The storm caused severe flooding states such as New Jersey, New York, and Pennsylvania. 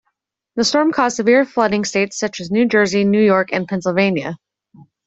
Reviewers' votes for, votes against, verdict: 2, 0, accepted